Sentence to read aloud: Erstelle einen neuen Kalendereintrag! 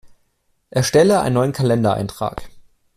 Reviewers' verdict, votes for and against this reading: accepted, 2, 0